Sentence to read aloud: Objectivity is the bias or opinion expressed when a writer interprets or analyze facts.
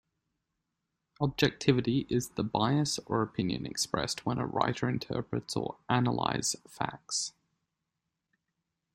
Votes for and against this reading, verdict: 2, 0, accepted